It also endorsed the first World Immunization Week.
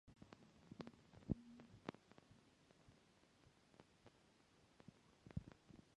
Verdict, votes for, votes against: rejected, 0, 2